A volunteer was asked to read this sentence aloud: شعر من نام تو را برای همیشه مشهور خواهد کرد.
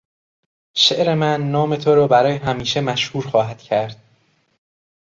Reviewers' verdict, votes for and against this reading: accepted, 2, 0